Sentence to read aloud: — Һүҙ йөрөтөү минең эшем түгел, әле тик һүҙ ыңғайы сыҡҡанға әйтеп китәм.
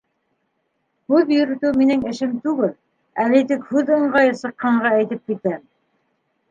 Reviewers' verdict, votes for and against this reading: accepted, 2, 0